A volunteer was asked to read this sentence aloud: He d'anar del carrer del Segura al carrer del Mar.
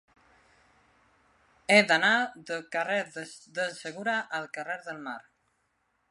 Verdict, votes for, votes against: rejected, 1, 2